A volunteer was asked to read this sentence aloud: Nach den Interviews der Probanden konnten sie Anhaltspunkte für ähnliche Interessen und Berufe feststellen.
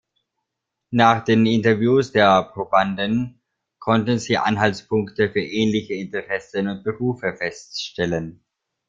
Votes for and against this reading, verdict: 2, 0, accepted